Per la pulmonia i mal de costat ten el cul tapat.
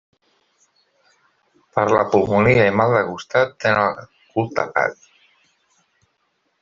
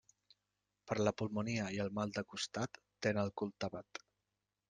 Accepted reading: second